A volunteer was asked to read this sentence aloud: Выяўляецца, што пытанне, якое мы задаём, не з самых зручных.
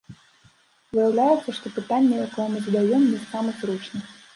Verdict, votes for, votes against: accepted, 2, 0